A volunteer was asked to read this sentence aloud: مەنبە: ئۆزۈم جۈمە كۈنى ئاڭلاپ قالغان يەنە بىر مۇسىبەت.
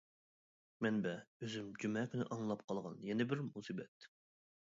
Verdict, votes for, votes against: accepted, 2, 1